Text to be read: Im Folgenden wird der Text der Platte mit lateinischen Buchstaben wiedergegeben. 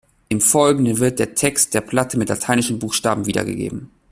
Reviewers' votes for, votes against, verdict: 2, 0, accepted